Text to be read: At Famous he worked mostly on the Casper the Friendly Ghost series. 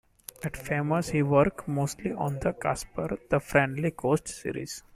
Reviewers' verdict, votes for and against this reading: accepted, 2, 1